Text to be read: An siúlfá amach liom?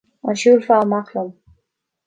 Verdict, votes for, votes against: accepted, 2, 0